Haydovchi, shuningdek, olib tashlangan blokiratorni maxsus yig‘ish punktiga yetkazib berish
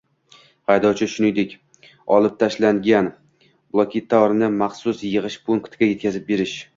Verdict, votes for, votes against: rejected, 1, 2